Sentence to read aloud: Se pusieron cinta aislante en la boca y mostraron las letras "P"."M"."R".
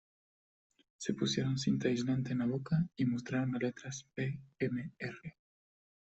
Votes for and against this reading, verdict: 2, 1, accepted